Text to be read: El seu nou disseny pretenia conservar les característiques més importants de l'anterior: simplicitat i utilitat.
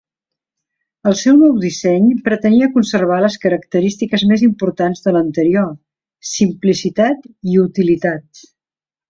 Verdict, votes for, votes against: accepted, 2, 0